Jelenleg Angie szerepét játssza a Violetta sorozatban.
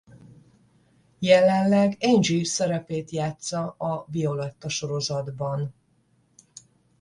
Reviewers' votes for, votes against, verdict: 10, 0, accepted